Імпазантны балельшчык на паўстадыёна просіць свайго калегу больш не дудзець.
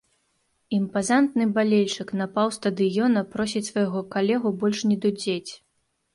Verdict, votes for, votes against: accepted, 2, 0